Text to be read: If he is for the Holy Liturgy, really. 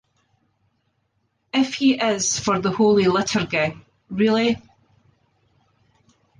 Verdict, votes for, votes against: accepted, 2, 0